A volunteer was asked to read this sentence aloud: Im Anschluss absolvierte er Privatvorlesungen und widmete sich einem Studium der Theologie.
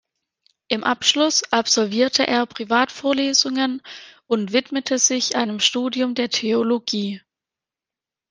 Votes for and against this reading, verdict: 0, 2, rejected